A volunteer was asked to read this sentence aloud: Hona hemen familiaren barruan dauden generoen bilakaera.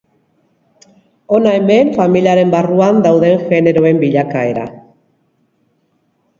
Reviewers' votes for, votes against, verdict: 3, 0, accepted